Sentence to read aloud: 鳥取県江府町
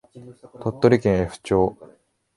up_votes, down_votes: 0, 2